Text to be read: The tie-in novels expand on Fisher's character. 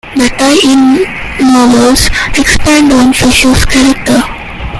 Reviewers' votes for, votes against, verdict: 1, 2, rejected